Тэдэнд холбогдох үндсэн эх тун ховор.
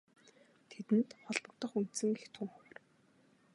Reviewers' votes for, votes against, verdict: 1, 2, rejected